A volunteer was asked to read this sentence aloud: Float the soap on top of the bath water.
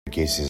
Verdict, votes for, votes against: rejected, 0, 2